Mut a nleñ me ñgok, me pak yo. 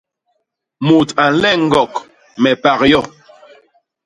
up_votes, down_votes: 0, 2